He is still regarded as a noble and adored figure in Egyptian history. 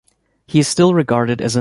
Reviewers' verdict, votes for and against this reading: rejected, 0, 2